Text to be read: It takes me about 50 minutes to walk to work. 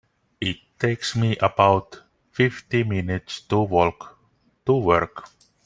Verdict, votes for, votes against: rejected, 0, 2